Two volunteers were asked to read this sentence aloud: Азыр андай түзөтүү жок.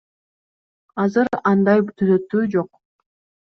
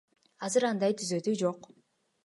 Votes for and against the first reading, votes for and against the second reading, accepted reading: 2, 0, 1, 2, first